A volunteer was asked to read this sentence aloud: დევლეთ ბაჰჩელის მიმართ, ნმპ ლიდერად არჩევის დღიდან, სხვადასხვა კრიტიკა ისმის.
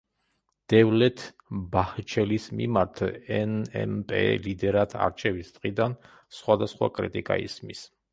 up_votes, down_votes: 1, 2